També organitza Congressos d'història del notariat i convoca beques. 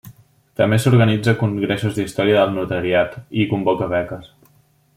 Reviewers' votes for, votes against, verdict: 1, 2, rejected